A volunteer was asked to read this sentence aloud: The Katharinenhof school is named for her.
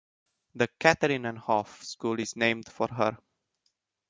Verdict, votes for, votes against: accepted, 2, 0